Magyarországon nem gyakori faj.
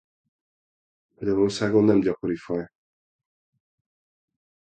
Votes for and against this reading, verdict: 0, 2, rejected